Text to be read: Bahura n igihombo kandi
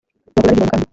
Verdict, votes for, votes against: rejected, 0, 2